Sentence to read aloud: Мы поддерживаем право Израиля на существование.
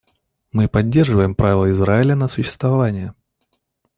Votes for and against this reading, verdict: 1, 2, rejected